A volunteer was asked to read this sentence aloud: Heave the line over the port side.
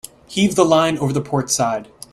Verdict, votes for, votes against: accepted, 2, 0